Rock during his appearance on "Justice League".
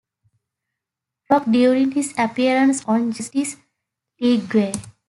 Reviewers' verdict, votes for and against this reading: rejected, 1, 2